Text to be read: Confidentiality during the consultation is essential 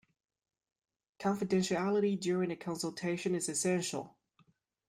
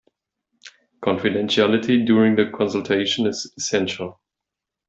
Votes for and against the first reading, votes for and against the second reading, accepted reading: 0, 2, 2, 0, second